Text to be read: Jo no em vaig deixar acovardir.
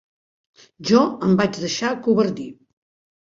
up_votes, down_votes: 0, 2